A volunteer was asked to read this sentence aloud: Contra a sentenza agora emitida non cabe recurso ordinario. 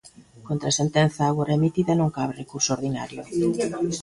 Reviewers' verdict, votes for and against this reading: rejected, 0, 2